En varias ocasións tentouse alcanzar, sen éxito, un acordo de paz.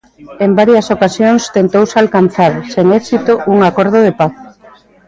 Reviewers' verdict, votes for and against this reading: rejected, 0, 2